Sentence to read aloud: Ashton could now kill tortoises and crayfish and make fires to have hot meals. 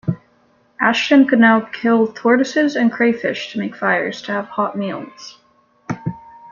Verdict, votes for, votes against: rejected, 1, 2